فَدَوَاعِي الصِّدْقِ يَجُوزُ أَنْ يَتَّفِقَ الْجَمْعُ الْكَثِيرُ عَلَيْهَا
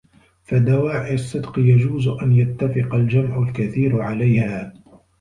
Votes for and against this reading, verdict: 2, 1, accepted